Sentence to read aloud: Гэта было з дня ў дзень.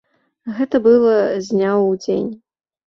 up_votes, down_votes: 0, 2